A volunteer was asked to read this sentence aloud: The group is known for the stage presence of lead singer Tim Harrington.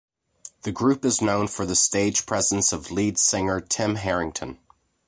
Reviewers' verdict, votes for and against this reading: accepted, 2, 0